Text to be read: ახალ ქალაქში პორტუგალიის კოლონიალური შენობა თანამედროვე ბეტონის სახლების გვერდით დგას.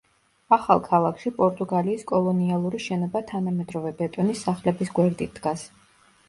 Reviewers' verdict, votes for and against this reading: accepted, 2, 0